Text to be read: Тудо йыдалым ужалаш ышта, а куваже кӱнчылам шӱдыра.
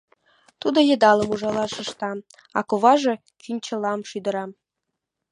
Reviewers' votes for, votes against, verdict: 2, 0, accepted